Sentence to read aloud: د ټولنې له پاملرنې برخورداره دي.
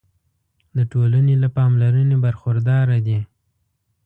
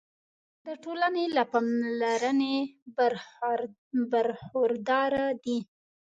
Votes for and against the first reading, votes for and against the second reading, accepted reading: 2, 0, 1, 2, first